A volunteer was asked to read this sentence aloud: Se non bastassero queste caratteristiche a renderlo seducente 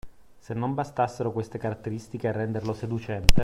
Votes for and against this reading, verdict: 2, 1, accepted